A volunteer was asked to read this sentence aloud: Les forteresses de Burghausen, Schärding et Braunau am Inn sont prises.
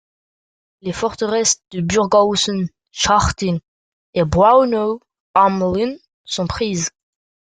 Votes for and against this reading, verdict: 1, 2, rejected